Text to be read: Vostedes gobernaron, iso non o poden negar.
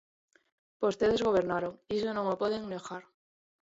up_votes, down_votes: 0, 2